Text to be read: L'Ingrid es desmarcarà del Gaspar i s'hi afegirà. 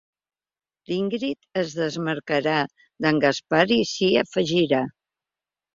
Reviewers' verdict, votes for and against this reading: rejected, 1, 2